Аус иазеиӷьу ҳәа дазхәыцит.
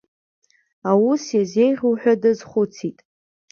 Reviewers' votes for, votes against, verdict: 4, 0, accepted